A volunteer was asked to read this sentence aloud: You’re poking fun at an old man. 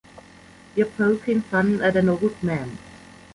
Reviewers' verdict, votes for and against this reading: rejected, 1, 2